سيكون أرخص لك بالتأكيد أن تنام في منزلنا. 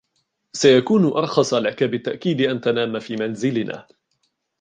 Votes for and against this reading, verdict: 2, 1, accepted